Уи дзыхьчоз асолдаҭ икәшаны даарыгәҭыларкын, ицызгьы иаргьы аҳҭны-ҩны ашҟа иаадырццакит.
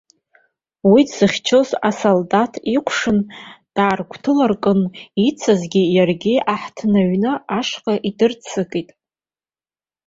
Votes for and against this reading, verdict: 0, 2, rejected